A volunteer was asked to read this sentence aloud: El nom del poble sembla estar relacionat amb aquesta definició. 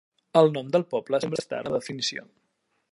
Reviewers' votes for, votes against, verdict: 0, 2, rejected